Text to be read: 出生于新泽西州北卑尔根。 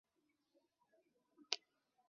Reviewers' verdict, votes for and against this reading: rejected, 0, 4